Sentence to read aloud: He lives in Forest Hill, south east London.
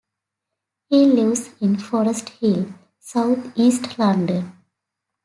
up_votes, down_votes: 2, 0